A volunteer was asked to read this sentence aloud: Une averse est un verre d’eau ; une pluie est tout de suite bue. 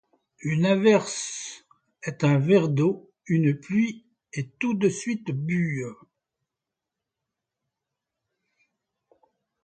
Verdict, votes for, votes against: accepted, 2, 0